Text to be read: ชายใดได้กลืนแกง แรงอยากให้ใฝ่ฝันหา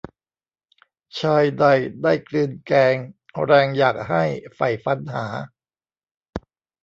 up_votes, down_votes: 0, 2